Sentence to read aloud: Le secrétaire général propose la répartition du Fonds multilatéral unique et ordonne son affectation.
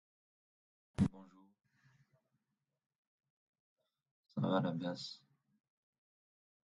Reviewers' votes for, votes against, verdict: 0, 2, rejected